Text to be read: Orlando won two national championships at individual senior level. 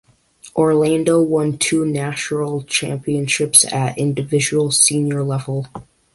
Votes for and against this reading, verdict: 2, 0, accepted